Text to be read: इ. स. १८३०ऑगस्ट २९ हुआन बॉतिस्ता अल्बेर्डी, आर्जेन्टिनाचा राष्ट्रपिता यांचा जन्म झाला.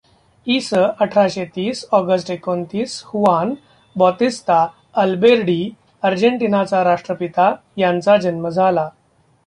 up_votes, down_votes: 0, 2